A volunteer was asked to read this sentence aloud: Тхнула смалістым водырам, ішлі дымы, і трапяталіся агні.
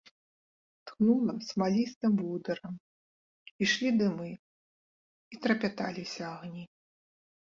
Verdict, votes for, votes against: accepted, 5, 0